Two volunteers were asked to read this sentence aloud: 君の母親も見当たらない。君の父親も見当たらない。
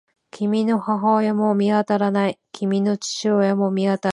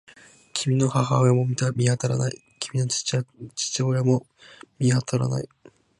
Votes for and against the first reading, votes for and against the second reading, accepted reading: 18, 11, 0, 2, first